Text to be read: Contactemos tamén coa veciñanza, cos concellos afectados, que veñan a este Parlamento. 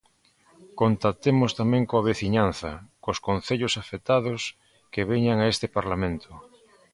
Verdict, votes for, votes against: accepted, 2, 0